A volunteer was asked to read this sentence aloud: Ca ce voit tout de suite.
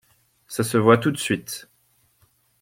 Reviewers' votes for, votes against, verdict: 2, 0, accepted